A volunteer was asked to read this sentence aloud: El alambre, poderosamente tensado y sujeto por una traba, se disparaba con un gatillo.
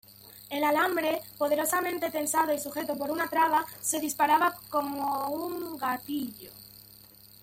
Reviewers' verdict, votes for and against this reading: rejected, 1, 2